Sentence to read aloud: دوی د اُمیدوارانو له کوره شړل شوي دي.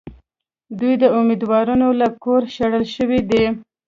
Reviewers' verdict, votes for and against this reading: rejected, 1, 2